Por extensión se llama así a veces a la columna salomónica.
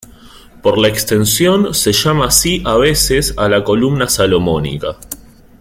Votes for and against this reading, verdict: 0, 3, rejected